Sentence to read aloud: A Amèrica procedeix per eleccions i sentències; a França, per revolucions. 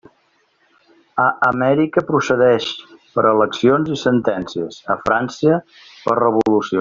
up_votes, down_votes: 0, 2